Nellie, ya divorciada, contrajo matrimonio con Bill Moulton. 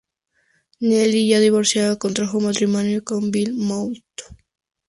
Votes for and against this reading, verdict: 2, 0, accepted